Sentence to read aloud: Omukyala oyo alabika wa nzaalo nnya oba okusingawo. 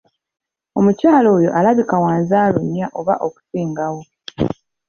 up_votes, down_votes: 2, 1